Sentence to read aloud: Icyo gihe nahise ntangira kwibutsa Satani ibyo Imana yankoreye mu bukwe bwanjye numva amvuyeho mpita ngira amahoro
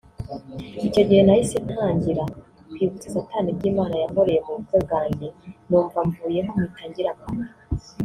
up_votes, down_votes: 0, 2